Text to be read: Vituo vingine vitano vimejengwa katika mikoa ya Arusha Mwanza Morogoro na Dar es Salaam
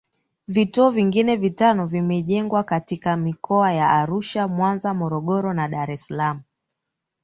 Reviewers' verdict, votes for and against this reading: accepted, 3, 0